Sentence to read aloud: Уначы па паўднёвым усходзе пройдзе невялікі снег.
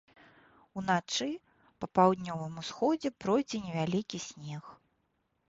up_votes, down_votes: 2, 0